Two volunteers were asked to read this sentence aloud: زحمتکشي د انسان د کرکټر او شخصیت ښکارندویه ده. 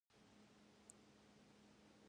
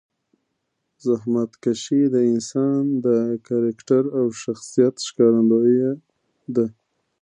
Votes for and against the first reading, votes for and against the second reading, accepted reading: 1, 2, 2, 0, second